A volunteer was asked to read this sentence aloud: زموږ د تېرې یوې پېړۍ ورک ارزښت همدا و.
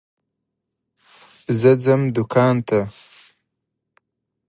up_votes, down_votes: 0, 2